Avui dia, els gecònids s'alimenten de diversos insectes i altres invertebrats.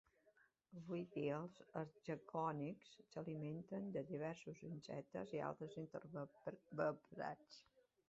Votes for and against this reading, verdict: 1, 3, rejected